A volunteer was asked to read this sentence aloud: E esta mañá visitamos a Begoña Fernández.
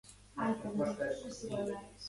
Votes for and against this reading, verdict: 0, 2, rejected